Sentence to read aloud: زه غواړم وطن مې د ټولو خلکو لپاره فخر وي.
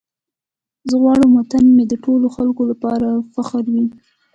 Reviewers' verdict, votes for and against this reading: accepted, 2, 0